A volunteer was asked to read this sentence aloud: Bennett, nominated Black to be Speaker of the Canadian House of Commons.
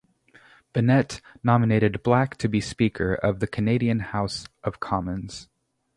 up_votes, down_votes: 0, 2